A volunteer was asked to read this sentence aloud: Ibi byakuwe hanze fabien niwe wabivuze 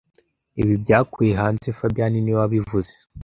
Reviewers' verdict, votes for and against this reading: rejected, 1, 2